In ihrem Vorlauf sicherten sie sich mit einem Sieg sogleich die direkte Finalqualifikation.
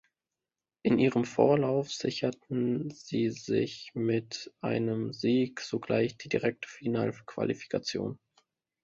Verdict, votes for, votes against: rejected, 0, 2